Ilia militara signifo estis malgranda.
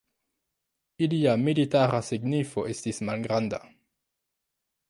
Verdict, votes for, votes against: accepted, 2, 1